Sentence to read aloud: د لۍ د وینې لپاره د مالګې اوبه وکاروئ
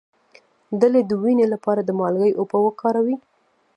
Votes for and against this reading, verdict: 0, 2, rejected